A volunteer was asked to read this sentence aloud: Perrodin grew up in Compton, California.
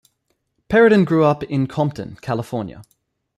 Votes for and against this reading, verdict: 2, 0, accepted